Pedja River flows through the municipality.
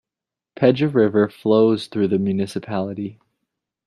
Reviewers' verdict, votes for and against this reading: accepted, 2, 0